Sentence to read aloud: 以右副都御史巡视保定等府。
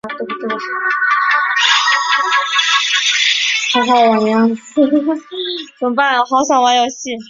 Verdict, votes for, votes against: rejected, 0, 2